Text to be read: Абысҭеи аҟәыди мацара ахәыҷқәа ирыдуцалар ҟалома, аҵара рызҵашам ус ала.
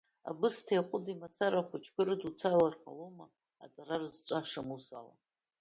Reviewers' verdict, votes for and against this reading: rejected, 0, 2